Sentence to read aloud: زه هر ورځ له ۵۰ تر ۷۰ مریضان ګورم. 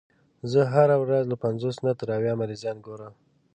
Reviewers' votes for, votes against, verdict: 0, 2, rejected